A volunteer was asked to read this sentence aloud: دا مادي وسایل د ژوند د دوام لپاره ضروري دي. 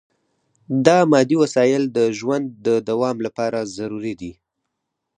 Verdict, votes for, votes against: accepted, 4, 0